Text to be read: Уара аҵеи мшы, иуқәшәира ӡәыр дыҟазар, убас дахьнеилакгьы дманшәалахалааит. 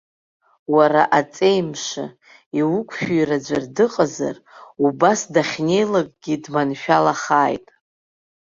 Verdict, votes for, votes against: rejected, 1, 2